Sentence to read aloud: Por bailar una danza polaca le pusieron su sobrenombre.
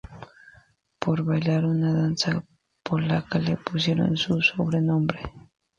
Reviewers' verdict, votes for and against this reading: accepted, 2, 0